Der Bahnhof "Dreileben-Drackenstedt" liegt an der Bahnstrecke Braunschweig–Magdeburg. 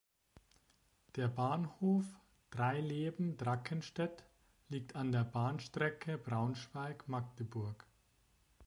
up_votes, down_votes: 2, 0